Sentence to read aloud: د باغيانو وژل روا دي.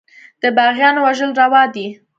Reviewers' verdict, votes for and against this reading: accepted, 2, 0